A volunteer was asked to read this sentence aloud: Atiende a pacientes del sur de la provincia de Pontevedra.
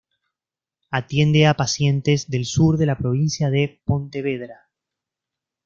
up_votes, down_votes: 2, 0